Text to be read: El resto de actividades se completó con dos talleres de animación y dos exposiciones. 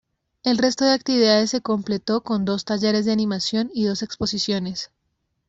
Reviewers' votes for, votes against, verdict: 3, 0, accepted